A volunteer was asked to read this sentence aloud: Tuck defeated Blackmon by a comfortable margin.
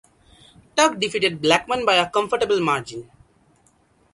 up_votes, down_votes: 0, 2